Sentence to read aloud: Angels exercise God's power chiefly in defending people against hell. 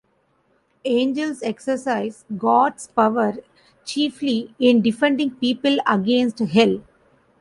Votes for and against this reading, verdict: 2, 0, accepted